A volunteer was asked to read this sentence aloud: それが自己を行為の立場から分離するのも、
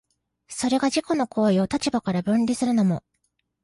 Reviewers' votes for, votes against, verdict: 1, 2, rejected